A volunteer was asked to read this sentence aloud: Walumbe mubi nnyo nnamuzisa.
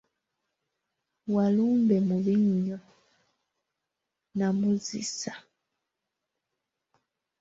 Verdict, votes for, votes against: rejected, 0, 3